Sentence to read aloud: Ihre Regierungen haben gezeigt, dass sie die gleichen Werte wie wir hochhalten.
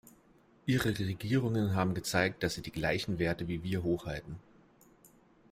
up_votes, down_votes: 2, 0